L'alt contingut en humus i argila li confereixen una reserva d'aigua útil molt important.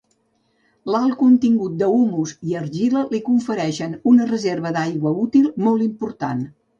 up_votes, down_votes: 1, 2